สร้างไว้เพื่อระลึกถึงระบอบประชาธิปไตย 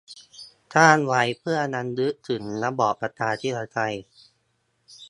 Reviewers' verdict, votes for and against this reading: rejected, 0, 2